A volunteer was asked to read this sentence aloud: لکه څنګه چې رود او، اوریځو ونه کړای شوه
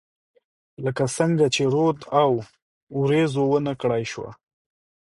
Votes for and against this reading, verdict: 2, 0, accepted